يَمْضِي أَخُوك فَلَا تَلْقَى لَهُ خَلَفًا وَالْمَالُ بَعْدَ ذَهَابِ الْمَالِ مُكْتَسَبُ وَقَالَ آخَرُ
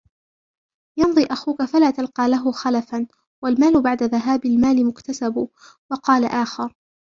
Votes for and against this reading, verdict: 2, 0, accepted